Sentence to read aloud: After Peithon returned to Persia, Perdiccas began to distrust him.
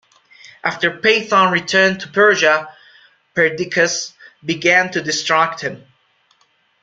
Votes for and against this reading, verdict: 0, 2, rejected